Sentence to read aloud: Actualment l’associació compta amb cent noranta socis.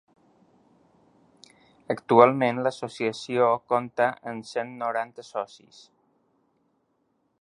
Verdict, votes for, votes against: accepted, 3, 0